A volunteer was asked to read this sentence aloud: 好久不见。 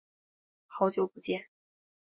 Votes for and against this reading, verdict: 3, 0, accepted